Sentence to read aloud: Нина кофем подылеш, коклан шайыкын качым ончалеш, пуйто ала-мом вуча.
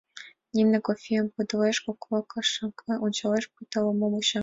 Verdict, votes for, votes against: rejected, 1, 2